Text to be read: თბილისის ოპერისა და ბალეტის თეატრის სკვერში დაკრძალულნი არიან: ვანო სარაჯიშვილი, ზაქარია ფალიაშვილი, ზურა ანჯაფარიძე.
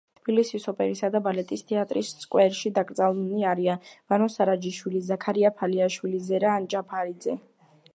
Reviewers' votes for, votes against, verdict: 1, 2, rejected